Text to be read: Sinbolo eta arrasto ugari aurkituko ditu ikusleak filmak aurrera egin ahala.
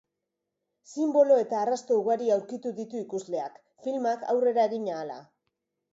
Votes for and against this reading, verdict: 0, 2, rejected